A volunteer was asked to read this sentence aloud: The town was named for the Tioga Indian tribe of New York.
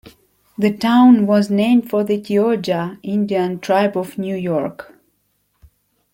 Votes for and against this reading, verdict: 2, 1, accepted